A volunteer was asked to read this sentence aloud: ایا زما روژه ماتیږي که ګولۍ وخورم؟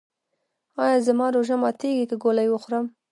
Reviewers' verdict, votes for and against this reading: rejected, 0, 2